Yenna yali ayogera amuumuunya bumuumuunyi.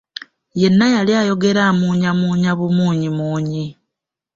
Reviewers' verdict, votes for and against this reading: rejected, 0, 2